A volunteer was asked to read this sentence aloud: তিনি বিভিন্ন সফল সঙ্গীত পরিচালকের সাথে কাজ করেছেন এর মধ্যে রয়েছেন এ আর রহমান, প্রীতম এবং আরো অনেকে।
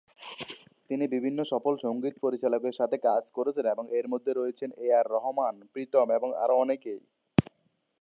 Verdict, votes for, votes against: accepted, 2, 0